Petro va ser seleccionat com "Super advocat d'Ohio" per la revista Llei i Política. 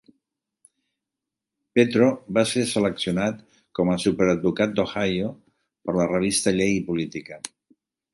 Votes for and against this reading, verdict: 1, 2, rejected